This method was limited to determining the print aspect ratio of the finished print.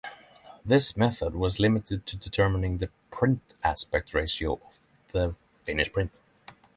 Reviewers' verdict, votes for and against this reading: accepted, 6, 0